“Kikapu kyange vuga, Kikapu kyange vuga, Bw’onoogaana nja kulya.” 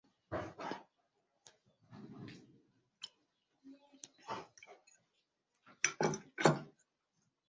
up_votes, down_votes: 0, 2